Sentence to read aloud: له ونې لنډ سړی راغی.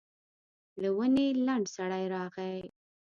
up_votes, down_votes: 1, 2